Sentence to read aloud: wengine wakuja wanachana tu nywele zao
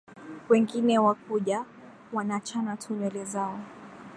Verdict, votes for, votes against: accepted, 2, 0